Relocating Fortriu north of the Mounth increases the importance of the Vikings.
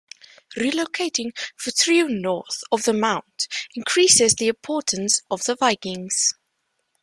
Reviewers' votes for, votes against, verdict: 2, 0, accepted